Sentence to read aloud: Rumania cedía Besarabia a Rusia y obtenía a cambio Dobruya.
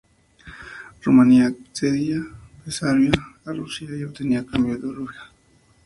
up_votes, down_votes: 0, 2